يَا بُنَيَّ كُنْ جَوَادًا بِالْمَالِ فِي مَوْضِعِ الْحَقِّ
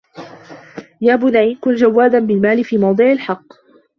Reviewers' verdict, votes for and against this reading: rejected, 0, 2